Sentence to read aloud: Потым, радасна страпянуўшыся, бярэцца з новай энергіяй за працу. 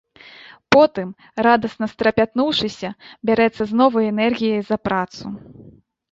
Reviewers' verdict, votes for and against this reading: rejected, 1, 2